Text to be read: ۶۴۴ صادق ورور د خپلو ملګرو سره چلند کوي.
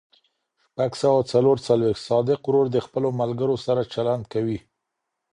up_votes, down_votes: 0, 2